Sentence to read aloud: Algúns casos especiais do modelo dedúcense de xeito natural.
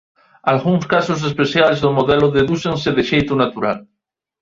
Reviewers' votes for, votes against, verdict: 2, 0, accepted